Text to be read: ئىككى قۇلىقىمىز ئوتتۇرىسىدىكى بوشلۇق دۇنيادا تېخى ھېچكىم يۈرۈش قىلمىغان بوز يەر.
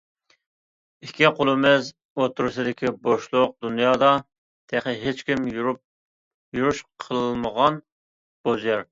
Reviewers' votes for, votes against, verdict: 0, 2, rejected